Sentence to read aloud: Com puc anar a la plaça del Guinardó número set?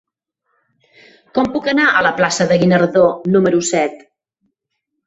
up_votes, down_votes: 2, 4